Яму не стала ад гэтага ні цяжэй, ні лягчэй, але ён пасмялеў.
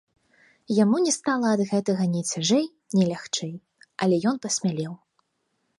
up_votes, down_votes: 2, 0